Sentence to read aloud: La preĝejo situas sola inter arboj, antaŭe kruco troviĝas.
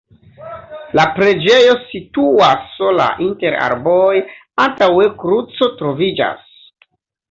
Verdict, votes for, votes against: accepted, 2, 0